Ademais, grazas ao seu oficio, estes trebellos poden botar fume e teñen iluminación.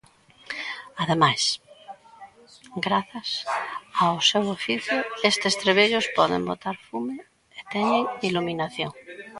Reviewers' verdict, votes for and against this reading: rejected, 0, 2